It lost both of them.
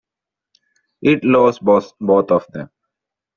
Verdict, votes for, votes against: accepted, 2, 0